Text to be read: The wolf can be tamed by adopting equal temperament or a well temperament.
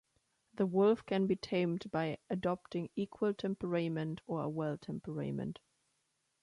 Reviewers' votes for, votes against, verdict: 1, 2, rejected